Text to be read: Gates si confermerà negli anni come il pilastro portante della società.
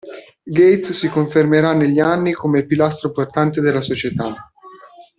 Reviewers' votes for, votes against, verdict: 2, 0, accepted